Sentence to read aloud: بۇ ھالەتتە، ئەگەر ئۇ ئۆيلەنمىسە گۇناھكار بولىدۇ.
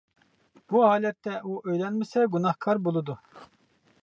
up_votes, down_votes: 0, 2